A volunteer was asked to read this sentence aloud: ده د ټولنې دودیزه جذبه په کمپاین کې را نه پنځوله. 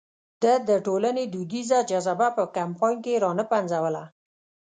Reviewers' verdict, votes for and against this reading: rejected, 1, 2